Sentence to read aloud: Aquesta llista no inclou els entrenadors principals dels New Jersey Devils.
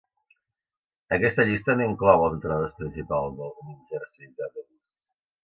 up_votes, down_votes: 0, 2